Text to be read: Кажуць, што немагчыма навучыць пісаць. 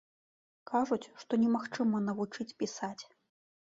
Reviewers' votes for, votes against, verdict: 2, 0, accepted